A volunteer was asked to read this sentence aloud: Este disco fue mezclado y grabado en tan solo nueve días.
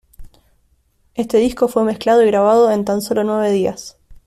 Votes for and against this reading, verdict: 3, 0, accepted